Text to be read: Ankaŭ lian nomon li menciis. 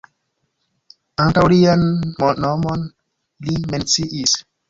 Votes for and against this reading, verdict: 2, 1, accepted